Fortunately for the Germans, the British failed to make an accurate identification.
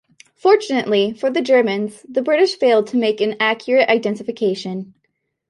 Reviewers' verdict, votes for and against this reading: accepted, 2, 0